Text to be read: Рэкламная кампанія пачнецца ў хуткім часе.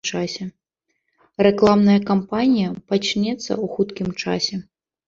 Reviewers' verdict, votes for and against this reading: rejected, 1, 2